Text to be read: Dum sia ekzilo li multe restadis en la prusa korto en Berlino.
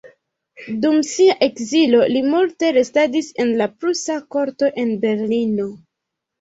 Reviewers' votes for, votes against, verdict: 0, 2, rejected